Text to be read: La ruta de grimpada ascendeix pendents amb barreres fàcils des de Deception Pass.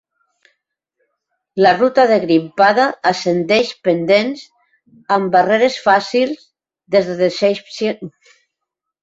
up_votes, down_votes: 0, 3